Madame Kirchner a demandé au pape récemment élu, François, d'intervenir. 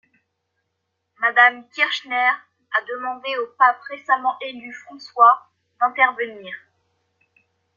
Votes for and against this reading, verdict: 2, 1, accepted